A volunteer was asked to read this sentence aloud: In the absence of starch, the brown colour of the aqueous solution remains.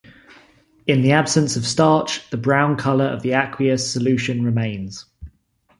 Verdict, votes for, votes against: accepted, 2, 0